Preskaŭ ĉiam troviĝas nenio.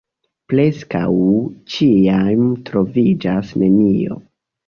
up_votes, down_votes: 1, 2